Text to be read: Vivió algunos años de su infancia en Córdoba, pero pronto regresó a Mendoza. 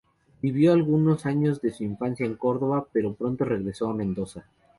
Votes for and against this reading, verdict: 0, 2, rejected